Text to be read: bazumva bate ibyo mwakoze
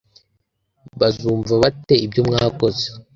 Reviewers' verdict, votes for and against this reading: accepted, 2, 0